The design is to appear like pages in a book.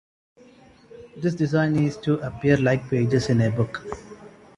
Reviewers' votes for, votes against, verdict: 1, 2, rejected